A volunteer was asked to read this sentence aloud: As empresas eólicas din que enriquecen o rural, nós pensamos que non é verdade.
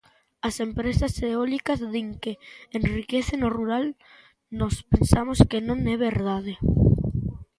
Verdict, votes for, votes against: accepted, 2, 0